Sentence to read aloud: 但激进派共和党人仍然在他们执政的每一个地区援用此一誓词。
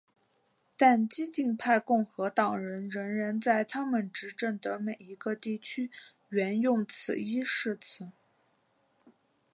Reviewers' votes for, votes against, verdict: 2, 1, accepted